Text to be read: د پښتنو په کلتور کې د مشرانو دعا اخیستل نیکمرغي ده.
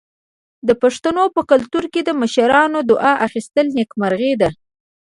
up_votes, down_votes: 1, 2